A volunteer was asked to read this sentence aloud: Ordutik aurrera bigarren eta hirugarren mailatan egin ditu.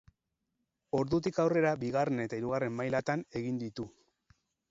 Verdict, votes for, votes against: rejected, 2, 2